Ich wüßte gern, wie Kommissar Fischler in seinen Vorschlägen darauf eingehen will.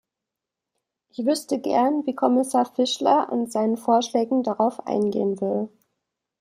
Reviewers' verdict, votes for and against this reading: accepted, 2, 0